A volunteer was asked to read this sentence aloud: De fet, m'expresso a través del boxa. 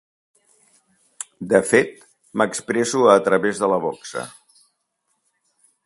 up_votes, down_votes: 0, 2